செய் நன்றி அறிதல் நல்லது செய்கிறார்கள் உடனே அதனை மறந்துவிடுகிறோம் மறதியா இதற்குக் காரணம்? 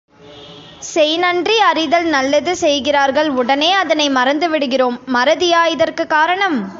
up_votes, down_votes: 2, 0